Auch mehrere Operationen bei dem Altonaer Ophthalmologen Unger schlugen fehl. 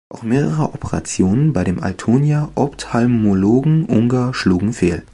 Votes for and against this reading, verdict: 1, 2, rejected